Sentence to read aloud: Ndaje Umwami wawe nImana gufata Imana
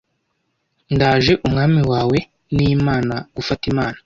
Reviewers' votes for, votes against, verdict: 2, 0, accepted